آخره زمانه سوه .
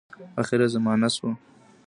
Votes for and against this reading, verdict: 2, 0, accepted